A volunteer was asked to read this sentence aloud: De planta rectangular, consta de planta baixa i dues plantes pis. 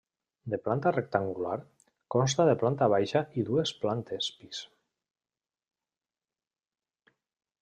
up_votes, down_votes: 3, 0